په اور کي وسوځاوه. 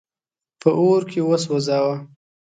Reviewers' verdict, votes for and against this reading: accepted, 2, 0